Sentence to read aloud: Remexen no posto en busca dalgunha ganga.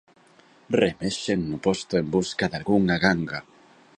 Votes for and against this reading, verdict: 2, 0, accepted